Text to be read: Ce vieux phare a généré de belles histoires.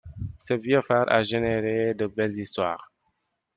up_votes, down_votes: 2, 0